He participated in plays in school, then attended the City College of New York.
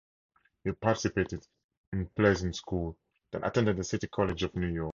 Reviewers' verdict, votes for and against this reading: accepted, 4, 0